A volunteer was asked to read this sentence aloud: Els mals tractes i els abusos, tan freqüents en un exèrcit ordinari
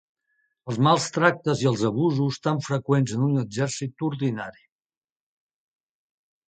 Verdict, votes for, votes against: accepted, 3, 0